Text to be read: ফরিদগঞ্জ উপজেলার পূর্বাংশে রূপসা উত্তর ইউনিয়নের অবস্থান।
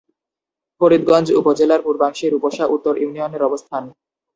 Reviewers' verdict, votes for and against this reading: rejected, 0, 4